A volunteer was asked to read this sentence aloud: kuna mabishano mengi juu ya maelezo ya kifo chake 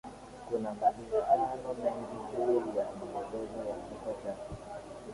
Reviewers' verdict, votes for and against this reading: rejected, 0, 3